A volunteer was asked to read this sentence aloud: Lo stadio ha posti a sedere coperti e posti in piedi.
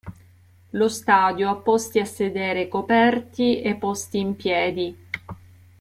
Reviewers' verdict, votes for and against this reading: accepted, 3, 0